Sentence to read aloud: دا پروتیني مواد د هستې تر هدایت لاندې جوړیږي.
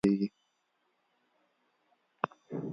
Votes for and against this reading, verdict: 0, 2, rejected